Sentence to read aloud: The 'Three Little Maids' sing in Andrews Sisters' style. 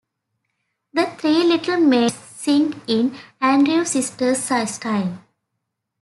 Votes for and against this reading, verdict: 0, 2, rejected